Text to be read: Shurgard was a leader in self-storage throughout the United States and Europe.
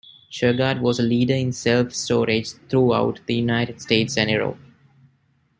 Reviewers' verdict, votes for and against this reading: accepted, 2, 0